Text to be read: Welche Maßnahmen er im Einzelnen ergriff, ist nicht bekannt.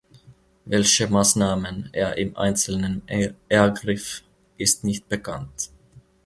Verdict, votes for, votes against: rejected, 1, 2